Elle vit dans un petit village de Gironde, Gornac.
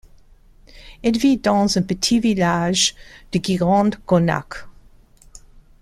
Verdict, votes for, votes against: rejected, 1, 2